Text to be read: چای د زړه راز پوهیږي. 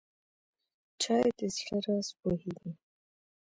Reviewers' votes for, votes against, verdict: 1, 2, rejected